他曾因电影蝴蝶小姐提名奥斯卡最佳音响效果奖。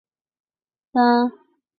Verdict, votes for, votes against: rejected, 0, 2